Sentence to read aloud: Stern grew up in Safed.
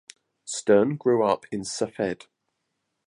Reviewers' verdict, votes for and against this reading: accepted, 2, 0